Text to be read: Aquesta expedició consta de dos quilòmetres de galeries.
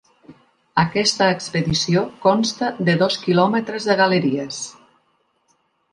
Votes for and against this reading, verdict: 4, 0, accepted